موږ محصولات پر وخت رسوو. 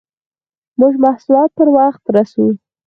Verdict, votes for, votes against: rejected, 2, 4